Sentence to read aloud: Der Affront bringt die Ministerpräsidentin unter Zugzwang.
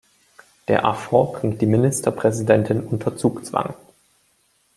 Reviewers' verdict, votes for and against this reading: accepted, 2, 0